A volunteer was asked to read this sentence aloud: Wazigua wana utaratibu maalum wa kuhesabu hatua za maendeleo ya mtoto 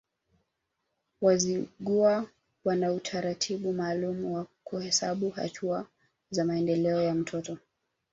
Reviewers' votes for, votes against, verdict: 1, 2, rejected